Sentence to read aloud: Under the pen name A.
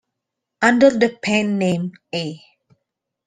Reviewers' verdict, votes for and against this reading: accepted, 2, 0